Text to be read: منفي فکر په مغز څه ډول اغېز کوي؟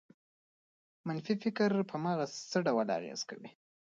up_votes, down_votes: 2, 0